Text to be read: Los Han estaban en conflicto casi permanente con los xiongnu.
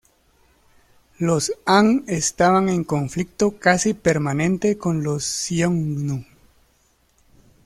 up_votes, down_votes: 2, 0